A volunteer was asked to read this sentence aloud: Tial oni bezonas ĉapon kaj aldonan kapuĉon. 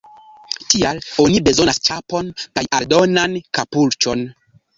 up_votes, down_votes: 1, 2